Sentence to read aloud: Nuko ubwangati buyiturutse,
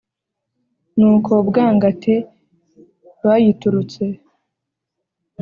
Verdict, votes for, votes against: rejected, 1, 2